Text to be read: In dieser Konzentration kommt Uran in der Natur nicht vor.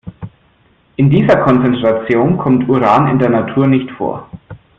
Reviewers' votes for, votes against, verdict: 2, 0, accepted